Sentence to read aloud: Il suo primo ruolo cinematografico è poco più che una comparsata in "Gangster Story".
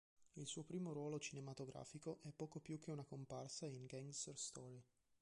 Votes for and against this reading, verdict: 2, 3, rejected